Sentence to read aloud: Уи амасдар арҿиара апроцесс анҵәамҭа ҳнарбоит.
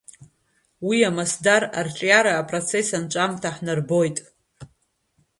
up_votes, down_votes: 2, 1